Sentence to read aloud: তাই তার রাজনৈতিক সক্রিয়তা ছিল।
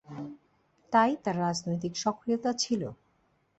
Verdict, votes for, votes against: accepted, 2, 0